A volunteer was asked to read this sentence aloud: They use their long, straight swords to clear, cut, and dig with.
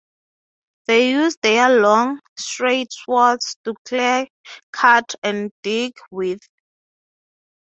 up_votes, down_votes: 6, 0